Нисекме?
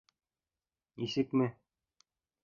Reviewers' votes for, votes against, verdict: 2, 1, accepted